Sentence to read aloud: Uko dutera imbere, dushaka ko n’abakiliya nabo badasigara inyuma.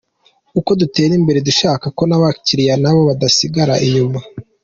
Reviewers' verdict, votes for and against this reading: accepted, 2, 0